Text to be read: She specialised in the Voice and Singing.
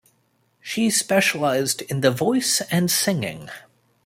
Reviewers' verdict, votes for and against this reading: accepted, 2, 1